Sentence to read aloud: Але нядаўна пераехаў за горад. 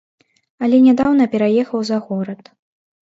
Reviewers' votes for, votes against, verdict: 2, 0, accepted